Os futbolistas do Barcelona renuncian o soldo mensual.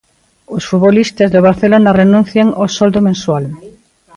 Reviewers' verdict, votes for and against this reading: accepted, 2, 0